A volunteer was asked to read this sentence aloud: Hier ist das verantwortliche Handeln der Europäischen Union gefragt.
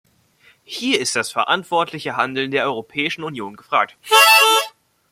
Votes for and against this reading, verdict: 1, 2, rejected